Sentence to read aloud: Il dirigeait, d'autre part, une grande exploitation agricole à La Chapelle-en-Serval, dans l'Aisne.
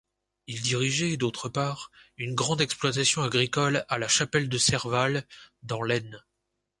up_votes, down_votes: 1, 2